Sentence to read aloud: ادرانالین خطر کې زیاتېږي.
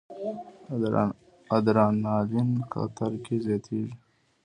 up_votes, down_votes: 2, 0